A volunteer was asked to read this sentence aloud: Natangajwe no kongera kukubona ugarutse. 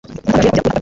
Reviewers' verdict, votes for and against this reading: rejected, 1, 2